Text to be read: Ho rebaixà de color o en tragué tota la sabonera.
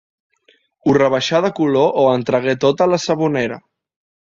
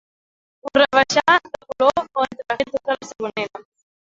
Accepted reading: first